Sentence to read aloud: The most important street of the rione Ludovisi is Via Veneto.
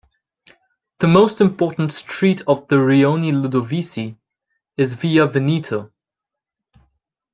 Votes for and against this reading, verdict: 2, 0, accepted